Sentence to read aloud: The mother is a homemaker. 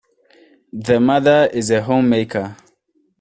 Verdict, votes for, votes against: accepted, 2, 0